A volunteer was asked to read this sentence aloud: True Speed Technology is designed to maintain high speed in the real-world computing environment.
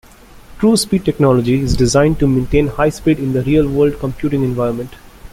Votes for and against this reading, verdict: 2, 0, accepted